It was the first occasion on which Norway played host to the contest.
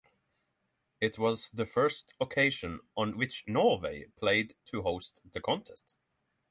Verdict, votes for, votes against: rejected, 0, 6